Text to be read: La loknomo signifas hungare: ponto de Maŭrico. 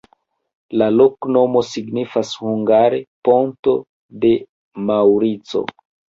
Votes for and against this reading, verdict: 1, 2, rejected